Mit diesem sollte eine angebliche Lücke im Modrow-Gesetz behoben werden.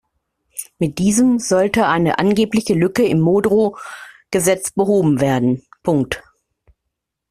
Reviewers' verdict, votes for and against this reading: accepted, 2, 1